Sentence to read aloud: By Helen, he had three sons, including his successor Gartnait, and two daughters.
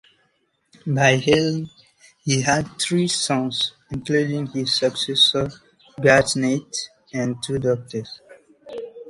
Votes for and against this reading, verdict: 1, 2, rejected